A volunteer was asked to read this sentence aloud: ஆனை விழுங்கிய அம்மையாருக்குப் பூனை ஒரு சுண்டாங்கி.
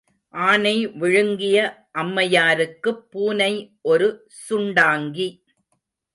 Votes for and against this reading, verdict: 2, 0, accepted